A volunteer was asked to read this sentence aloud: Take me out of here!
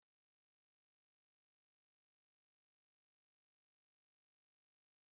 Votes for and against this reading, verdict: 0, 2, rejected